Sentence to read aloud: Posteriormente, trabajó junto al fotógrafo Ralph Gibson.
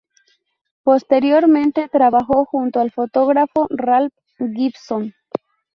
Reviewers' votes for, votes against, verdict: 2, 0, accepted